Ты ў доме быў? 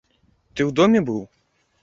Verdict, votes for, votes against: accepted, 2, 0